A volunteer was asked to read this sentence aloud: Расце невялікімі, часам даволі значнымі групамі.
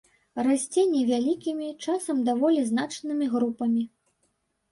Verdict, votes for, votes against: accepted, 2, 0